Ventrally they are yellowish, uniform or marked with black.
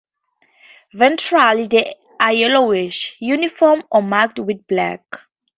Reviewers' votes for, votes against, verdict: 2, 0, accepted